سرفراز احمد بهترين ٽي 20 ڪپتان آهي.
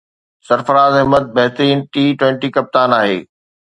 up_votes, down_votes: 0, 2